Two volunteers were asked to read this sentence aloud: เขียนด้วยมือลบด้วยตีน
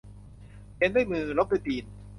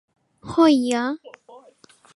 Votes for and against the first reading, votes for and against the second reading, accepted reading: 2, 0, 0, 2, first